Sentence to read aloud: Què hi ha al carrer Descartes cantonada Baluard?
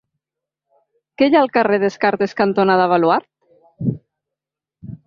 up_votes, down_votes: 2, 0